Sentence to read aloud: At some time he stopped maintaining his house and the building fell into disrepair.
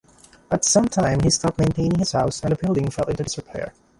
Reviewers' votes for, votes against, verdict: 0, 2, rejected